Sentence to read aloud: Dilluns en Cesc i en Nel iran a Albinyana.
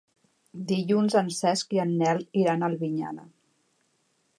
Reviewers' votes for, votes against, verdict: 3, 0, accepted